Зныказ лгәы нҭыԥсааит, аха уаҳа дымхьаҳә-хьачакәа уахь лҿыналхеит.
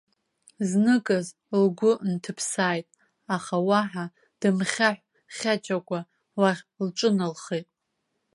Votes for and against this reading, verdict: 3, 1, accepted